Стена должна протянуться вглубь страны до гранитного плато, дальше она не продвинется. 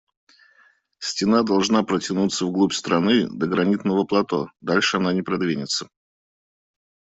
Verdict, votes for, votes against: accepted, 2, 0